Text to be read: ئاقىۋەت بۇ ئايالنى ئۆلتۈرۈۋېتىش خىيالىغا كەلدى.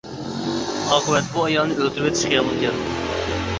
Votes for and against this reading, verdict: 1, 2, rejected